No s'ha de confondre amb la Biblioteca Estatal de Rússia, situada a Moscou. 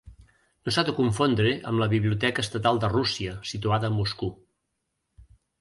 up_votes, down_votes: 3, 0